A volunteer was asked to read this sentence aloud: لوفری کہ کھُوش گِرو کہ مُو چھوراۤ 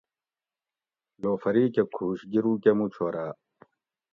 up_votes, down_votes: 2, 0